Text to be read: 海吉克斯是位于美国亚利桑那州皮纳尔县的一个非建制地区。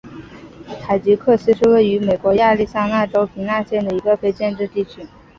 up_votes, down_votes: 2, 1